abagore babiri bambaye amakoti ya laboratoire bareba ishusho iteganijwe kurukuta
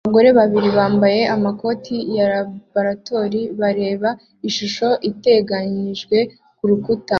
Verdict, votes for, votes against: accepted, 2, 0